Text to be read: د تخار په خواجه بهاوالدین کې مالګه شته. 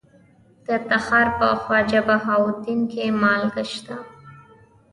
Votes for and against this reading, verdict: 1, 2, rejected